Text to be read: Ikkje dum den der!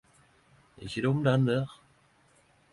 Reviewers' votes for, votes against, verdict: 10, 0, accepted